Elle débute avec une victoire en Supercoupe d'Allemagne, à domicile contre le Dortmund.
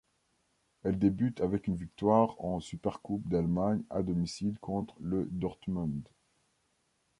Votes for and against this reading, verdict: 0, 2, rejected